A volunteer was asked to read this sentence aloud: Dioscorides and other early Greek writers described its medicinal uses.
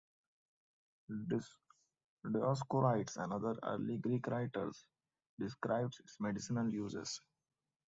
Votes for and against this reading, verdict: 0, 2, rejected